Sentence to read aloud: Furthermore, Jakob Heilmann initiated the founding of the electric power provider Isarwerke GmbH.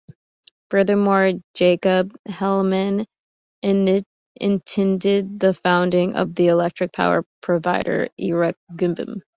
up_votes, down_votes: 1, 2